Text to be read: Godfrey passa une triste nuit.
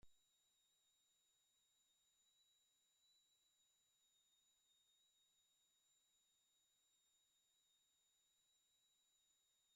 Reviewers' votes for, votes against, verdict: 0, 2, rejected